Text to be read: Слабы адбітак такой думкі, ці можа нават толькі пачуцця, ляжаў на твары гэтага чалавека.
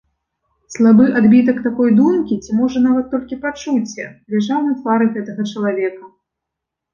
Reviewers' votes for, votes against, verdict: 0, 2, rejected